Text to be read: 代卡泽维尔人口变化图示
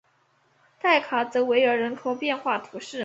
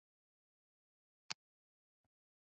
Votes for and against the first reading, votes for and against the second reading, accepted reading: 3, 0, 2, 3, first